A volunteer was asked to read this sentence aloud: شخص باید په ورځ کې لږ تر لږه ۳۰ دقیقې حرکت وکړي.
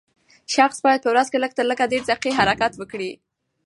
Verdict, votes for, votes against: rejected, 0, 2